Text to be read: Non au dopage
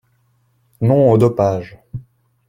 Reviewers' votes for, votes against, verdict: 2, 0, accepted